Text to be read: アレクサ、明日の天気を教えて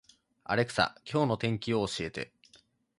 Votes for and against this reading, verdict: 0, 2, rejected